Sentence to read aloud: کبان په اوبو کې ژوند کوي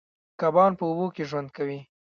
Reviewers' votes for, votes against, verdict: 0, 2, rejected